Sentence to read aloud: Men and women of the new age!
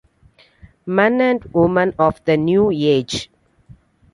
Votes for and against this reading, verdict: 0, 2, rejected